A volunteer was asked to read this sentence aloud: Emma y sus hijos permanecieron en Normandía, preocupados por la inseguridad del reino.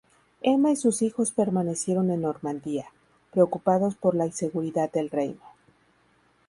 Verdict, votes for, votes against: rejected, 0, 2